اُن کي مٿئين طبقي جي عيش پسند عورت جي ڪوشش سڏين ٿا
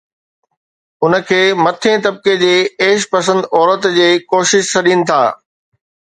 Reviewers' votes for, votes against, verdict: 2, 0, accepted